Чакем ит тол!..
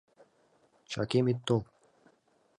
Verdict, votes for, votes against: accepted, 2, 0